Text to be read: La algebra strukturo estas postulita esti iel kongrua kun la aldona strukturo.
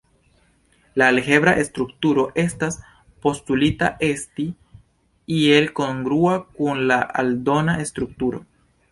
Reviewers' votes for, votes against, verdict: 1, 2, rejected